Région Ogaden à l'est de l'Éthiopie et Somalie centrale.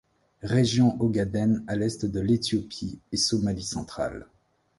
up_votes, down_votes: 2, 0